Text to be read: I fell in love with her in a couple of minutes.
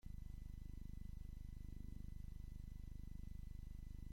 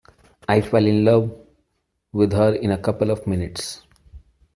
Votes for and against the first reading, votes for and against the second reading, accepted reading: 0, 2, 2, 0, second